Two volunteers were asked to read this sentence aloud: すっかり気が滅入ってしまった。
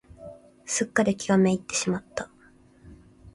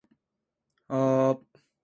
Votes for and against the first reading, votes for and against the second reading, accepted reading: 2, 0, 1, 2, first